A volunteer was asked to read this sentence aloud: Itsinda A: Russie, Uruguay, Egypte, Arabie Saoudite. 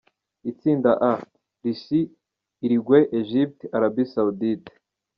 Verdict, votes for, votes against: accepted, 2, 0